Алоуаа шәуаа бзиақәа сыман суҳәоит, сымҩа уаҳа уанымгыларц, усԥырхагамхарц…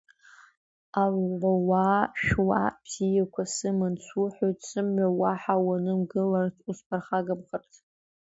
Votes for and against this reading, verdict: 1, 2, rejected